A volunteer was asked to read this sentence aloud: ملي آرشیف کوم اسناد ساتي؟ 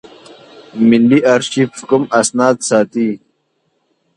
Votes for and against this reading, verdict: 2, 0, accepted